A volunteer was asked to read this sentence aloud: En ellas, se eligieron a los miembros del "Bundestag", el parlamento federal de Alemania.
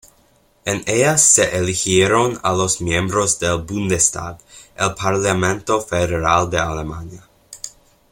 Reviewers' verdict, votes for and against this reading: accepted, 2, 0